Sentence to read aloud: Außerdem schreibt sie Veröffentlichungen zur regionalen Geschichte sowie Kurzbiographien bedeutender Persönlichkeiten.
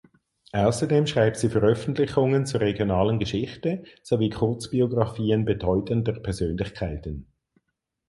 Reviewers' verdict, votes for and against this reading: accepted, 4, 0